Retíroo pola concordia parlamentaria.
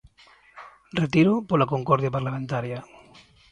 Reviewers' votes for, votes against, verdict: 2, 0, accepted